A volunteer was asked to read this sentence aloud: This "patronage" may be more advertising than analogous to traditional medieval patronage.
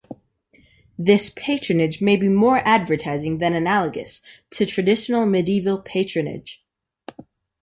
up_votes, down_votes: 2, 0